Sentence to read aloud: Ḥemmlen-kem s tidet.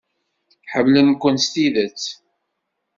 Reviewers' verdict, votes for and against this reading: rejected, 1, 2